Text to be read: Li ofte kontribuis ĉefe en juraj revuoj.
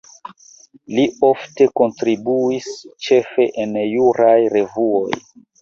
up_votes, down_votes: 2, 0